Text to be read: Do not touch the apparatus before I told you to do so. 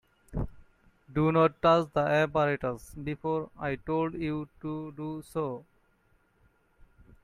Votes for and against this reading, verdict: 1, 2, rejected